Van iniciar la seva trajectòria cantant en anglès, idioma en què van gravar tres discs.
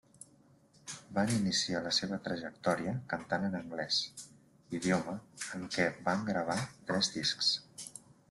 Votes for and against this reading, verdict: 0, 2, rejected